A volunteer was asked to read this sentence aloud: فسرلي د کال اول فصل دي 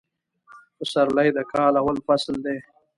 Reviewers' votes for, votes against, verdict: 2, 0, accepted